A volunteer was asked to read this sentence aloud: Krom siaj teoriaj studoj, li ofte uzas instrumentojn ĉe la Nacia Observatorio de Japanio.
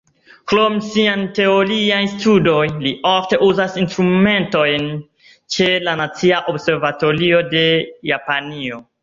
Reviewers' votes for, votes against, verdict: 1, 2, rejected